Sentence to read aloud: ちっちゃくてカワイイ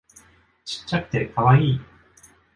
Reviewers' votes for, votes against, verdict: 2, 0, accepted